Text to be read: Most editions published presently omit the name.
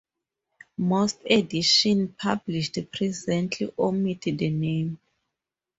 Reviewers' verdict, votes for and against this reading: accepted, 2, 0